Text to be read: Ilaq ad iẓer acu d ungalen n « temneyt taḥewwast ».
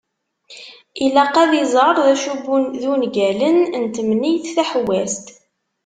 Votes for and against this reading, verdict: 1, 2, rejected